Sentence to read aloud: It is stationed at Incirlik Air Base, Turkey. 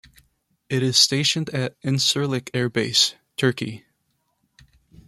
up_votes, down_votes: 2, 0